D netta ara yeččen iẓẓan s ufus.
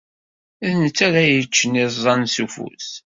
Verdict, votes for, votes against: accepted, 2, 0